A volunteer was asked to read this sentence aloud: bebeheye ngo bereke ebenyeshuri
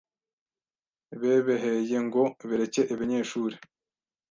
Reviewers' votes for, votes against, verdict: 1, 2, rejected